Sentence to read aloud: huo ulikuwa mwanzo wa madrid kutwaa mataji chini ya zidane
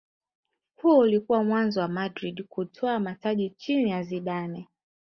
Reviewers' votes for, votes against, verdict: 1, 2, rejected